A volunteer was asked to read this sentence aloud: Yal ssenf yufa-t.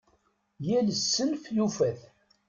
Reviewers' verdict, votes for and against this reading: rejected, 1, 2